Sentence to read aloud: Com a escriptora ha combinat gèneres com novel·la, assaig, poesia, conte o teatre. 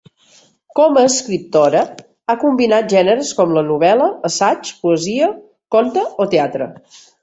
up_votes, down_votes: 0, 2